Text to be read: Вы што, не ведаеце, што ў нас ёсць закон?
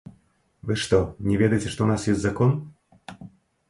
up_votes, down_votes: 0, 2